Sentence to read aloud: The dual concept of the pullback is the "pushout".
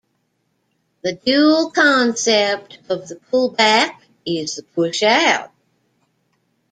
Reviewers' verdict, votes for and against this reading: rejected, 0, 2